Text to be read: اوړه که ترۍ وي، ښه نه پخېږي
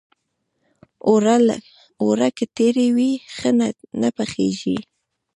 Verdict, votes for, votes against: rejected, 1, 3